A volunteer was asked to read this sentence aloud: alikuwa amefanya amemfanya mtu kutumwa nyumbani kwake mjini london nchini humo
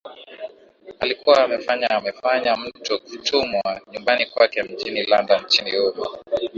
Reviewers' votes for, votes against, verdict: 6, 1, accepted